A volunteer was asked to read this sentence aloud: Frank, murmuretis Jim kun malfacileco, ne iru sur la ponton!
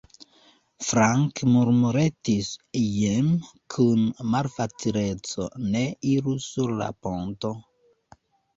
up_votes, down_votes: 0, 2